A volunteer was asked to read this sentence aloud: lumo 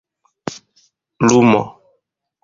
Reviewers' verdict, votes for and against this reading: accepted, 2, 0